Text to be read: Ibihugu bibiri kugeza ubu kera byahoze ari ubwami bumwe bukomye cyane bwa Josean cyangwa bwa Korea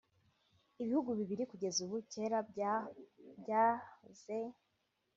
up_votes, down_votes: 0, 2